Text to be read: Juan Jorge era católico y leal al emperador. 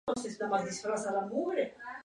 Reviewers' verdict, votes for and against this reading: accepted, 2, 0